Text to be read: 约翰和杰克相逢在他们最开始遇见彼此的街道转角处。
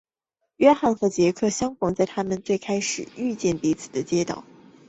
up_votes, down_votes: 0, 2